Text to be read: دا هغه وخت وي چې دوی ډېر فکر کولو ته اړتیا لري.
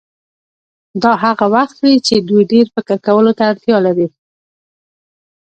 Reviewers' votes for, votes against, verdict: 2, 0, accepted